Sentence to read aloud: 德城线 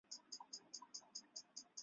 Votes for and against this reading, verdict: 0, 4, rejected